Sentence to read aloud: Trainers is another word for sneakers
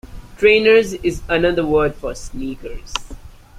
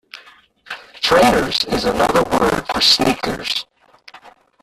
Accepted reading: first